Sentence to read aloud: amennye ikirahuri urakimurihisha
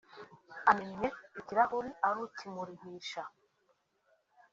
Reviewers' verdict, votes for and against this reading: rejected, 2, 3